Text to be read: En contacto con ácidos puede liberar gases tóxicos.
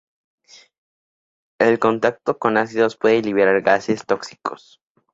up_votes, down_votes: 0, 2